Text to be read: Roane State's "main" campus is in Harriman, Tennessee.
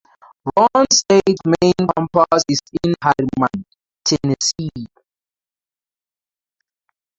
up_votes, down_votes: 0, 2